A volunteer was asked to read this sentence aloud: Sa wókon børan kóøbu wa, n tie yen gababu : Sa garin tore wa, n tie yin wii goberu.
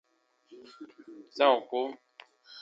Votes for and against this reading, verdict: 0, 2, rejected